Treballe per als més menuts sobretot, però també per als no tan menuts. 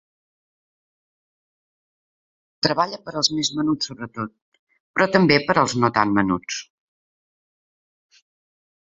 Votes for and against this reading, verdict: 1, 2, rejected